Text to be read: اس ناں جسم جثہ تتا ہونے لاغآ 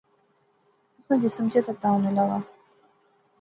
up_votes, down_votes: 2, 0